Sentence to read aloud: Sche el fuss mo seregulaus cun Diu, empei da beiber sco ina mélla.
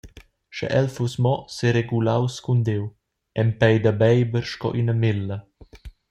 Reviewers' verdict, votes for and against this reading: accepted, 2, 0